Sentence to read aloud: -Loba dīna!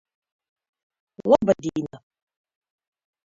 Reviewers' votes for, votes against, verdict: 0, 2, rejected